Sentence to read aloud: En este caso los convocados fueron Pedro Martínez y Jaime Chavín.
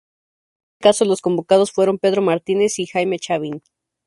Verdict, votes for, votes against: rejected, 0, 2